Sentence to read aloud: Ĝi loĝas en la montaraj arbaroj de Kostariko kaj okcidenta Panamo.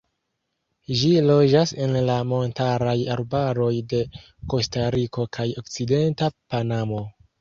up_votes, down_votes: 2, 0